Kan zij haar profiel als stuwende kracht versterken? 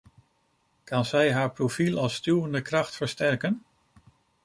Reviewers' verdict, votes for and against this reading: accepted, 2, 0